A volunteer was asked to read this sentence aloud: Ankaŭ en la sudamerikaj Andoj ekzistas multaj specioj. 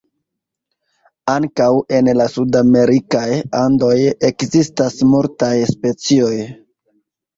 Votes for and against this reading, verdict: 2, 0, accepted